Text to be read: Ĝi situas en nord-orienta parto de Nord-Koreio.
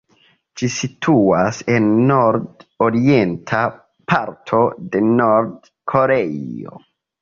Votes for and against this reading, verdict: 2, 0, accepted